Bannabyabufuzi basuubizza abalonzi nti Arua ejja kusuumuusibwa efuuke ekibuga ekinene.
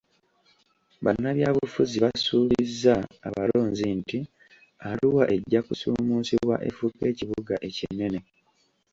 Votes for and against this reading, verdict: 0, 2, rejected